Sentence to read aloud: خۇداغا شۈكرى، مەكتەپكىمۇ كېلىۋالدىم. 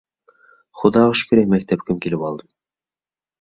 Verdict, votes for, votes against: accepted, 2, 0